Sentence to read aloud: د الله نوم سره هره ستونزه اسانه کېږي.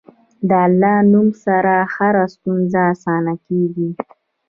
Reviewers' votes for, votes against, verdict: 2, 1, accepted